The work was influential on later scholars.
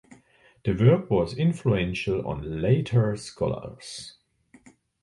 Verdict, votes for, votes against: accepted, 2, 0